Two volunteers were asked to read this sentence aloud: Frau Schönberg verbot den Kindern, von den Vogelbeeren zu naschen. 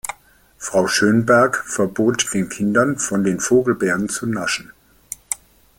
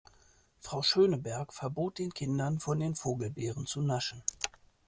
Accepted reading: first